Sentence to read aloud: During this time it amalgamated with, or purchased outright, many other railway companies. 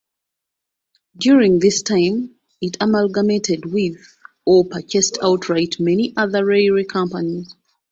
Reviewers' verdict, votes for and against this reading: rejected, 0, 2